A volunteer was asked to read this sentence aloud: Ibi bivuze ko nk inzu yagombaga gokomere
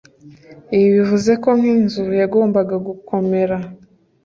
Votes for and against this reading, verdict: 2, 0, accepted